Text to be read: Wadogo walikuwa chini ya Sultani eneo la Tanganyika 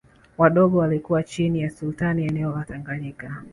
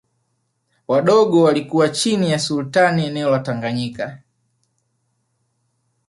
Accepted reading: second